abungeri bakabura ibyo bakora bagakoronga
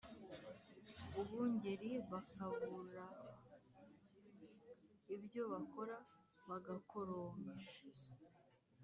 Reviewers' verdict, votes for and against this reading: rejected, 2, 3